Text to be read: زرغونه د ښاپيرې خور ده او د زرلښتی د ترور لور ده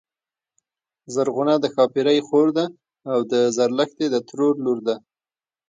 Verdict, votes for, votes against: rejected, 1, 2